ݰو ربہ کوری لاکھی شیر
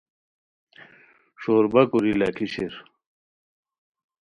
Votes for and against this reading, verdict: 2, 0, accepted